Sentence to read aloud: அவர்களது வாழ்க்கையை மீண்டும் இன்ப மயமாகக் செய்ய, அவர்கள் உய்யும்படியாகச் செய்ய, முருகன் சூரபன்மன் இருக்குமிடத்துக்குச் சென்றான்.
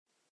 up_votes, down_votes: 0, 2